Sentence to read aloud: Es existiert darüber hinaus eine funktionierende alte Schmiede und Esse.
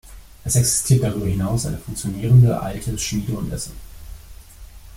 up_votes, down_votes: 2, 0